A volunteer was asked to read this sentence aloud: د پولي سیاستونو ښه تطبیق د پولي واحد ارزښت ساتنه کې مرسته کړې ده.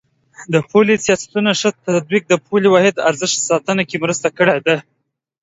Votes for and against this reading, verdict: 0, 2, rejected